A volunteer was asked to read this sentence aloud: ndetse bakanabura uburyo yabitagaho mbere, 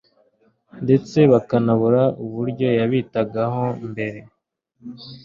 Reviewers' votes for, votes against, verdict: 2, 0, accepted